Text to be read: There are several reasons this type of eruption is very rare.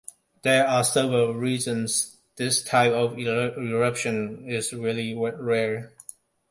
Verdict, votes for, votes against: rejected, 0, 2